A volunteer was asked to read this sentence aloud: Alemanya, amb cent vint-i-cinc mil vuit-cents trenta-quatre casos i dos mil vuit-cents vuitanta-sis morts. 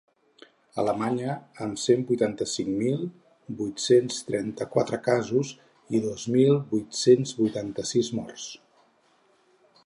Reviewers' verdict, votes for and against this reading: rejected, 2, 8